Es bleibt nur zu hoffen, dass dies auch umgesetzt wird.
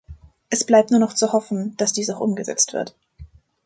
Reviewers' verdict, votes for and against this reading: rejected, 0, 2